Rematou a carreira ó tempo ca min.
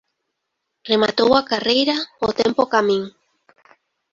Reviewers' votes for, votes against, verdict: 2, 0, accepted